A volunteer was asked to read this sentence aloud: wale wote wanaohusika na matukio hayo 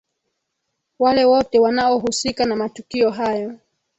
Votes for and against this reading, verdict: 2, 0, accepted